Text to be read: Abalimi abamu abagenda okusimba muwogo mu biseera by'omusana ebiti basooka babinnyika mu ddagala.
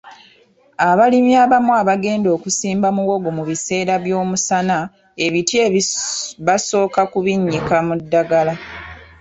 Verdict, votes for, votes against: rejected, 1, 2